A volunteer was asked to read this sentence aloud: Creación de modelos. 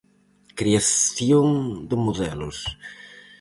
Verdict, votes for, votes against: accepted, 4, 0